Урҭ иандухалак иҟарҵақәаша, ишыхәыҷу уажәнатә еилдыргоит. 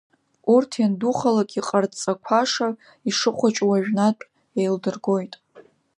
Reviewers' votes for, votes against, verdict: 3, 2, accepted